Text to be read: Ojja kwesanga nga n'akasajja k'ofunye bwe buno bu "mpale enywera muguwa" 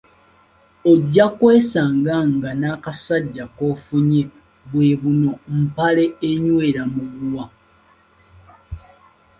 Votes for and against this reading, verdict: 1, 2, rejected